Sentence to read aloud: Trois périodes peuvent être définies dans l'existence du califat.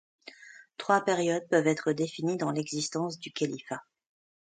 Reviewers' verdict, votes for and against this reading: accepted, 2, 0